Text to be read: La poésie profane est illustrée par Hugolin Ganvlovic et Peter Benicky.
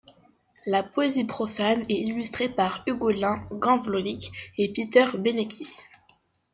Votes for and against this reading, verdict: 2, 0, accepted